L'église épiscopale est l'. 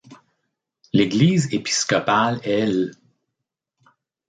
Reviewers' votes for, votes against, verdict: 2, 0, accepted